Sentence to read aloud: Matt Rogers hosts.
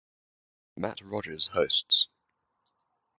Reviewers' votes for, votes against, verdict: 4, 0, accepted